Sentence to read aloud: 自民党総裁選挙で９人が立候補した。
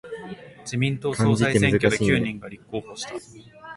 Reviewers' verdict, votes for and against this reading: rejected, 0, 2